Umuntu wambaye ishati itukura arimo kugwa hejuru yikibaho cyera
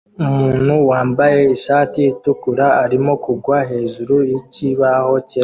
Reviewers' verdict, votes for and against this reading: rejected, 1, 2